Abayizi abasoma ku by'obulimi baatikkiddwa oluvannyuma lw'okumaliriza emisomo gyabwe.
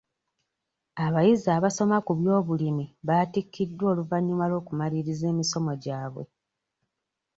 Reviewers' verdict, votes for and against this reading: accepted, 2, 1